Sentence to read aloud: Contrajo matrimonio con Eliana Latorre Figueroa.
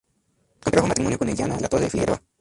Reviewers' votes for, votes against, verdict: 0, 2, rejected